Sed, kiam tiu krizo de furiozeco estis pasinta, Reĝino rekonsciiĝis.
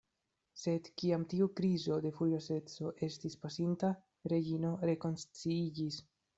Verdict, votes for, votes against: rejected, 0, 2